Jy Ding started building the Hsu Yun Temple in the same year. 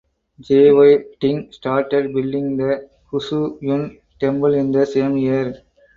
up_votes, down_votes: 4, 2